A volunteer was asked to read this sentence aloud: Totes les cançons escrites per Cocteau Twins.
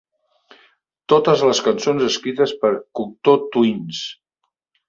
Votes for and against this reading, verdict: 2, 0, accepted